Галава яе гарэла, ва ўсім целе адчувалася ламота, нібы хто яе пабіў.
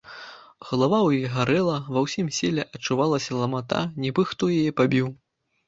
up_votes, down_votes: 0, 2